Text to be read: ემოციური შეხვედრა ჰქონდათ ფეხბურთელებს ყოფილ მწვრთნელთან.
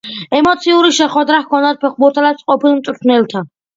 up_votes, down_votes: 3, 1